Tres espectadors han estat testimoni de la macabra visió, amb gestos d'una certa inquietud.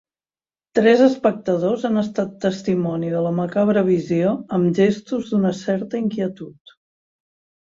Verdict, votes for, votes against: accepted, 3, 0